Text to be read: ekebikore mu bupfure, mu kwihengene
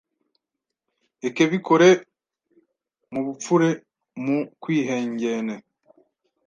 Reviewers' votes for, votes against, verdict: 1, 2, rejected